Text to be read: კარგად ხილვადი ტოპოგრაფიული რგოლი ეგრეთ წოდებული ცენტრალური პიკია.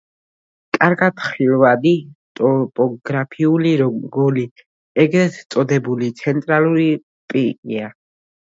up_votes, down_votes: 1, 2